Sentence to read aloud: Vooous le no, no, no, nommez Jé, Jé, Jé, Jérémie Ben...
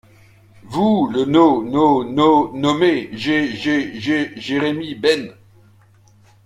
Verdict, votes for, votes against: accepted, 2, 1